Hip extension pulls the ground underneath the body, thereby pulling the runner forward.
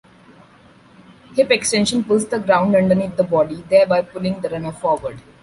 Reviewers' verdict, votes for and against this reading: accepted, 2, 0